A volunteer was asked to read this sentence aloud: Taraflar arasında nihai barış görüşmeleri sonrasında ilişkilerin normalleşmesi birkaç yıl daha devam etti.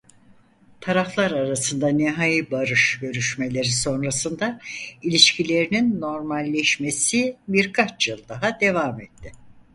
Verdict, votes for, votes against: rejected, 0, 4